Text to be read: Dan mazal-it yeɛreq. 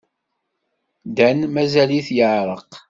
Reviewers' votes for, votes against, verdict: 2, 0, accepted